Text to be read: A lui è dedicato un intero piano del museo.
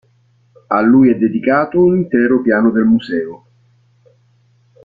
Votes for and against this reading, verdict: 2, 0, accepted